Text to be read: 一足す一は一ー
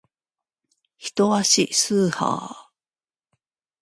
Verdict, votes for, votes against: rejected, 0, 2